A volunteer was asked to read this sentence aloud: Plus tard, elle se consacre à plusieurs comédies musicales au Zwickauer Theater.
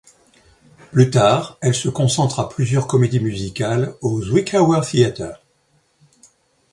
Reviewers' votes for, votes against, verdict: 0, 2, rejected